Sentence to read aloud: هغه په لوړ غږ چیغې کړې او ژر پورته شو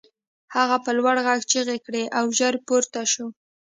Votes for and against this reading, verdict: 2, 0, accepted